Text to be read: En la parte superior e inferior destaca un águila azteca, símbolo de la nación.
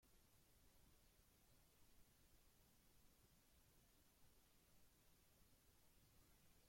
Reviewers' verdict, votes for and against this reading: rejected, 0, 2